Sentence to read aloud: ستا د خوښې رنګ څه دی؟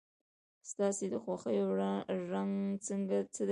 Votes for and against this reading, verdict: 2, 1, accepted